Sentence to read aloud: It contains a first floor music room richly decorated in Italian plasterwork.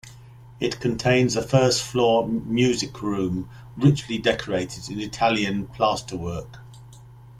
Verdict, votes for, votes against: accepted, 2, 0